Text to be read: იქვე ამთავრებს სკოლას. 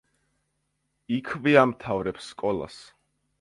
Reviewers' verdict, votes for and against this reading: accepted, 2, 1